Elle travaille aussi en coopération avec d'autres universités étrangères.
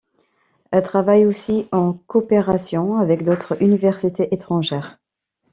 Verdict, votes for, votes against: rejected, 1, 2